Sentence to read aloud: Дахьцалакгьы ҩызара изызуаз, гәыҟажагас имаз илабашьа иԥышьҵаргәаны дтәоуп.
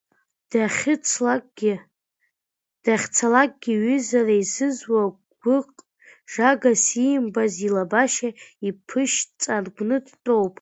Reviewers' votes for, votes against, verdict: 0, 2, rejected